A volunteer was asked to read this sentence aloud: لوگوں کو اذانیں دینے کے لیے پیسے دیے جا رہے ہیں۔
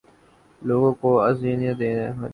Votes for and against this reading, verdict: 4, 5, rejected